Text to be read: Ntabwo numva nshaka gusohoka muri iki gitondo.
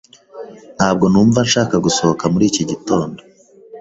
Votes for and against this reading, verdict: 2, 1, accepted